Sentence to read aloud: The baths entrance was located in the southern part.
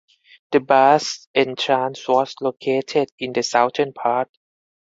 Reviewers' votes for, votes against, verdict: 4, 0, accepted